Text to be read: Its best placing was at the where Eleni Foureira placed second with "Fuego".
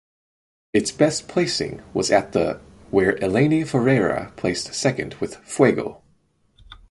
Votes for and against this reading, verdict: 4, 0, accepted